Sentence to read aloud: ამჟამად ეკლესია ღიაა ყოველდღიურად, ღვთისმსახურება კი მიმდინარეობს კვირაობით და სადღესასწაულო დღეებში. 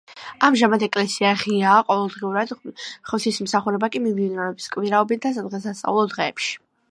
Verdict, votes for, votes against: accepted, 2, 0